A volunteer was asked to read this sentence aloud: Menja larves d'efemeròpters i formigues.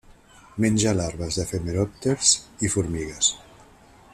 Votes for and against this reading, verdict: 2, 0, accepted